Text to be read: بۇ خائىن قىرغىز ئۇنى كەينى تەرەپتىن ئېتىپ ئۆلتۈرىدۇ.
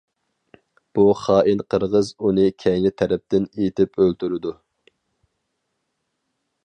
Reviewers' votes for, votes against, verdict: 4, 0, accepted